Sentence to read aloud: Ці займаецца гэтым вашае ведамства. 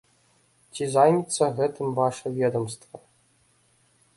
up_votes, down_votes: 0, 2